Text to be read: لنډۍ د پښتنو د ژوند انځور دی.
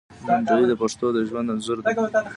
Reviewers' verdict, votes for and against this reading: accepted, 2, 0